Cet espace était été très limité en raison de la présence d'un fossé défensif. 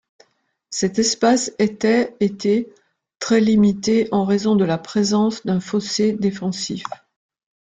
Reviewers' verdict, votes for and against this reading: accepted, 2, 0